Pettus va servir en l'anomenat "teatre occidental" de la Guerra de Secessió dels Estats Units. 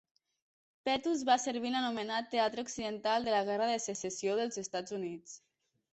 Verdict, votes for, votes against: rejected, 0, 2